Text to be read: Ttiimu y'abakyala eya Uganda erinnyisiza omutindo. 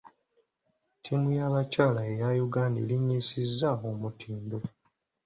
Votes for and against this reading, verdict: 2, 0, accepted